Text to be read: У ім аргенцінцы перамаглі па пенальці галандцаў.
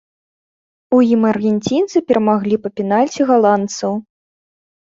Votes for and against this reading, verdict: 3, 0, accepted